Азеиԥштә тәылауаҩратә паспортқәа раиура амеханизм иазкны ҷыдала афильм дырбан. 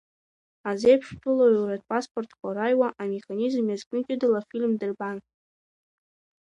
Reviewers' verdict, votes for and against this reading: rejected, 1, 2